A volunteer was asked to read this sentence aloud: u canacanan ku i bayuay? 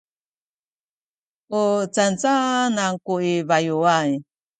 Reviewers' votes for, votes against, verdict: 2, 0, accepted